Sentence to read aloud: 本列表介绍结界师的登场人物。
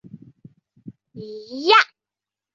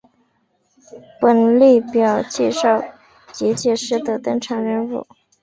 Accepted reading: second